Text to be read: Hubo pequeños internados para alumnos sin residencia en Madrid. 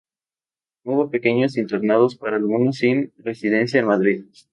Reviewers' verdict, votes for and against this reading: accepted, 2, 0